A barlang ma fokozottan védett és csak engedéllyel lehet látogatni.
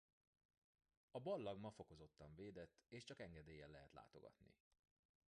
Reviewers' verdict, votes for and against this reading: rejected, 0, 2